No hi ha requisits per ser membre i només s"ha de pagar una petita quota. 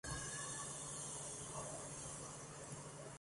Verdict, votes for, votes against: rejected, 0, 2